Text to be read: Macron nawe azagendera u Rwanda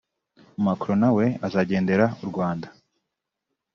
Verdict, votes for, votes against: rejected, 0, 2